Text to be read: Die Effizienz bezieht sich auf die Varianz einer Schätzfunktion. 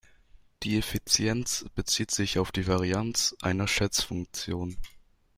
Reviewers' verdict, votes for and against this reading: accepted, 2, 0